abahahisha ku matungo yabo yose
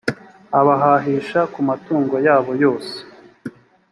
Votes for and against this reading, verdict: 2, 0, accepted